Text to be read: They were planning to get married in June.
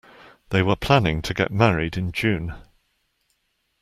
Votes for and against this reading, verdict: 2, 0, accepted